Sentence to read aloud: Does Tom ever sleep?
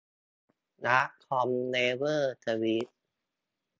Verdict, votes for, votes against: rejected, 2, 4